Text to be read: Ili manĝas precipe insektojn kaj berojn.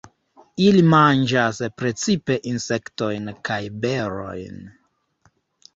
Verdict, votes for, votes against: accepted, 3, 0